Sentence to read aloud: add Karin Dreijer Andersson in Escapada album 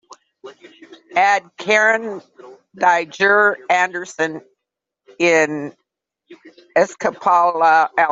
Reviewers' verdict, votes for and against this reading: rejected, 1, 2